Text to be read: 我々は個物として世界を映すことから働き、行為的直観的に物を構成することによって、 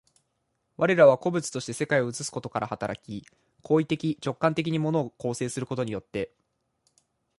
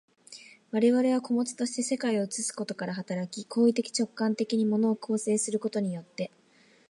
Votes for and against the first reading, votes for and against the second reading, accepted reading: 2, 4, 2, 0, second